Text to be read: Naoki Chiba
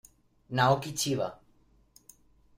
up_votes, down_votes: 2, 0